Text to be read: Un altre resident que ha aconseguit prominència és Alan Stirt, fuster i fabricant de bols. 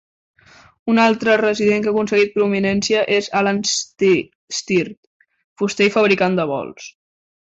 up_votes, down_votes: 1, 2